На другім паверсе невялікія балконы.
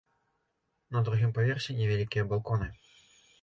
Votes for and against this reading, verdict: 2, 0, accepted